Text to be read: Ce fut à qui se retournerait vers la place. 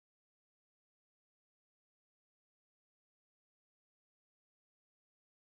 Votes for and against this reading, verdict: 1, 2, rejected